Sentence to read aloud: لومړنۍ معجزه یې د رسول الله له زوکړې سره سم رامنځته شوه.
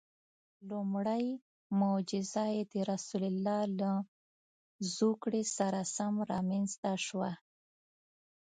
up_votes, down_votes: 1, 2